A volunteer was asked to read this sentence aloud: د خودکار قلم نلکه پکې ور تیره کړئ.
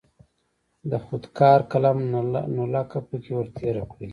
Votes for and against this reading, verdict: 1, 2, rejected